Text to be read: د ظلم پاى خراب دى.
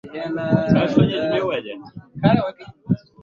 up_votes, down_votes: 0, 2